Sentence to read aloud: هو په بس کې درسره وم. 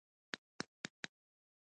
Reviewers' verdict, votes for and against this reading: rejected, 1, 2